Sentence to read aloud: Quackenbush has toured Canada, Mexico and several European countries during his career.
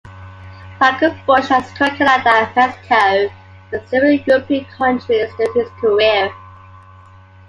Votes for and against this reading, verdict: 1, 2, rejected